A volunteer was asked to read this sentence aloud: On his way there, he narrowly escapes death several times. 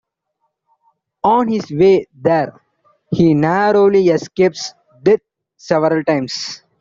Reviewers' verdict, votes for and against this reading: accepted, 2, 0